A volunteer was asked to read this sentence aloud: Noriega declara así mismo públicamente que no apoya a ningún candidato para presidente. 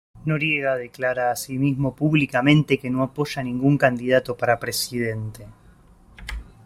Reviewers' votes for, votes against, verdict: 2, 0, accepted